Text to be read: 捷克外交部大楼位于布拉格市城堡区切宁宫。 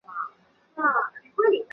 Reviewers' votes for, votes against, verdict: 2, 1, accepted